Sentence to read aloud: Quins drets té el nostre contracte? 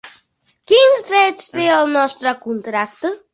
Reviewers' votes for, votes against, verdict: 3, 0, accepted